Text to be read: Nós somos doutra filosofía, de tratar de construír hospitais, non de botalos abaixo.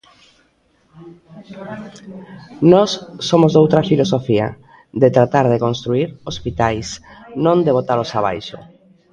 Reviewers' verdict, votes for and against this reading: accepted, 2, 1